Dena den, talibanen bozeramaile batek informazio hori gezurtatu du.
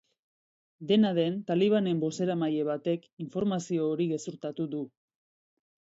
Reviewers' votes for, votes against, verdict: 2, 0, accepted